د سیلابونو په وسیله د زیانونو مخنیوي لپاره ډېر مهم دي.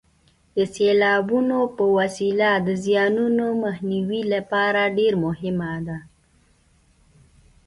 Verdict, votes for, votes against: rejected, 0, 2